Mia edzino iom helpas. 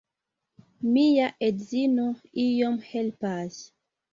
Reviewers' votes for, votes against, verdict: 2, 0, accepted